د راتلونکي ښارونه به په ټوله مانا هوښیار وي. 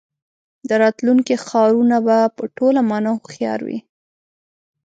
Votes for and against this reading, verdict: 2, 0, accepted